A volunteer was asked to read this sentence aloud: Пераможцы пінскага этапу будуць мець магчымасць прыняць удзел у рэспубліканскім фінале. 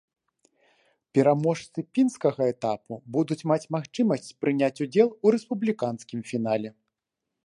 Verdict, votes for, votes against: rejected, 0, 2